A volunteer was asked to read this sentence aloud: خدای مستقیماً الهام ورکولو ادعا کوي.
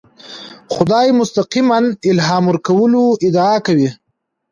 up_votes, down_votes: 2, 0